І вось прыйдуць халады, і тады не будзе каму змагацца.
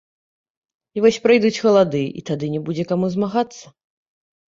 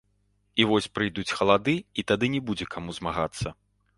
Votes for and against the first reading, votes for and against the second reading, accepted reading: 0, 2, 2, 0, second